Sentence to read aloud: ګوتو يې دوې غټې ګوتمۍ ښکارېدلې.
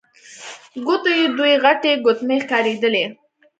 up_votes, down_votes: 2, 0